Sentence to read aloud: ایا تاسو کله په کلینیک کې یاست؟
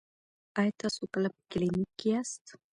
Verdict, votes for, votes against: rejected, 0, 2